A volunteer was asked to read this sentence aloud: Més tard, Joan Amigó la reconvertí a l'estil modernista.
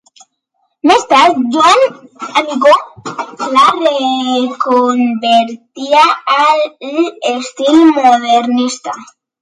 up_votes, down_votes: 1, 2